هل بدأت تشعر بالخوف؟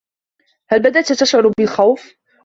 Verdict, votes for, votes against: accepted, 2, 0